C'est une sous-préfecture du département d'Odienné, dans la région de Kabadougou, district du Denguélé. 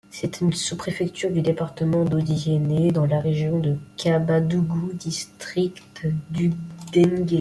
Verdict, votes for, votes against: rejected, 0, 2